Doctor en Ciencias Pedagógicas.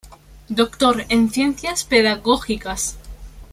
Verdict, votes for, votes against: accepted, 2, 0